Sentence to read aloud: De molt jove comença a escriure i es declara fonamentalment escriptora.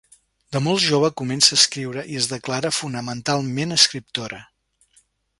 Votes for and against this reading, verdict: 2, 0, accepted